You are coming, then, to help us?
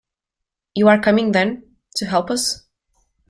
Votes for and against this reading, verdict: 2, 0, accepted